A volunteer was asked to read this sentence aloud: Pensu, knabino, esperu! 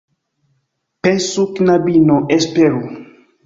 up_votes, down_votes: 2, 0